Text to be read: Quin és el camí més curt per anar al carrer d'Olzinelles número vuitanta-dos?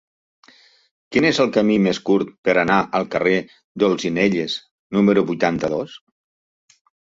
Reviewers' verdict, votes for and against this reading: accepted, 2, 0